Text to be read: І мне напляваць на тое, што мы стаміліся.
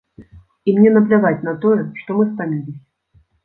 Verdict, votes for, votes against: rejected, 0, 2